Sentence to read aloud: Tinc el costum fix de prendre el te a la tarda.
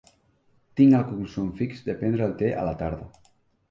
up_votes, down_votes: 1, 2